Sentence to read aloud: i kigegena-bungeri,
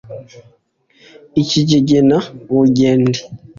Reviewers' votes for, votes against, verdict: 2, 0, accepted